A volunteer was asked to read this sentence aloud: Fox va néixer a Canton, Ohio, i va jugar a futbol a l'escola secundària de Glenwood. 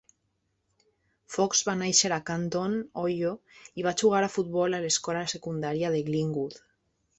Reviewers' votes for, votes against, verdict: 0, 2, rejected